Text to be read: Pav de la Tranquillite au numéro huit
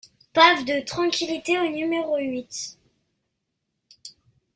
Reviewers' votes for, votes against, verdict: 0, 2, rejected